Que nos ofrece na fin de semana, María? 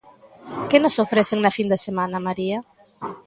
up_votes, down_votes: 2, 0